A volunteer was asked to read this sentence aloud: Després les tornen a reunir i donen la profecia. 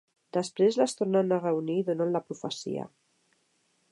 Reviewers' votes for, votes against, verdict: 2, 0, accepted